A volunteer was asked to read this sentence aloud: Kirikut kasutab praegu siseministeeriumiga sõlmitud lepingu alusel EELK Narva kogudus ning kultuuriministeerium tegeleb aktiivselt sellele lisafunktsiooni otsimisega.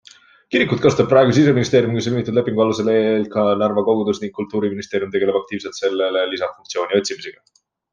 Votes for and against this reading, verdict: 2, 0, accepted